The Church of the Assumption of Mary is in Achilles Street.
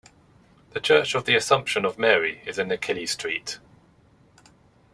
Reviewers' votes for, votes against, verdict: 2, 1, accepted